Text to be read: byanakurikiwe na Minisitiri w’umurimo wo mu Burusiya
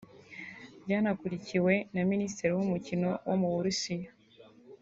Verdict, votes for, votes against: rejected, 1, 2